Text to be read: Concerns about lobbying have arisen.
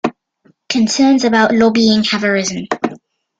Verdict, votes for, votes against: accepted, 2, 0